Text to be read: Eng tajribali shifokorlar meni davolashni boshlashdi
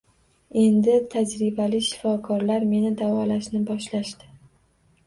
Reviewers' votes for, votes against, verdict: 1, 2, rejected